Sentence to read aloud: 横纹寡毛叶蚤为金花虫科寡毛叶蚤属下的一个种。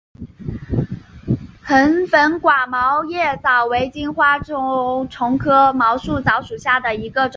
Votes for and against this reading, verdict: 1, 2, rejected